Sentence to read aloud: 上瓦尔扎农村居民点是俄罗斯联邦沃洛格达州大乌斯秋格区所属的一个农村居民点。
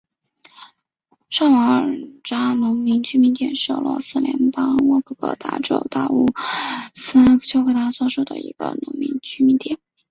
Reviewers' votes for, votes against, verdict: 1, 2, rejected